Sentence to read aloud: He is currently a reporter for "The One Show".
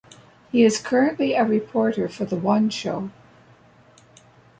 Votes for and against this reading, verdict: 2, 0, accepted